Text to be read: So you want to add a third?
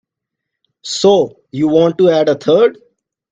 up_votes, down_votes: 2, 0